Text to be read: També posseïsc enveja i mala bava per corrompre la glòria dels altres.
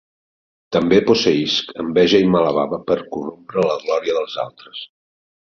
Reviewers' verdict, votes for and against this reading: rejected, 1, 2